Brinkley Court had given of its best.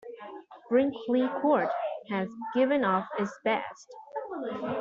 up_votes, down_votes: 1, 2